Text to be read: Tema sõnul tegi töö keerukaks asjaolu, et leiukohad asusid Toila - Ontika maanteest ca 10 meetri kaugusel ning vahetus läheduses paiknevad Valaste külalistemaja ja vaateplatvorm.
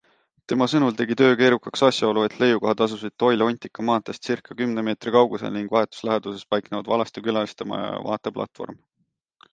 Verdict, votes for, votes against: rejected, 0, 2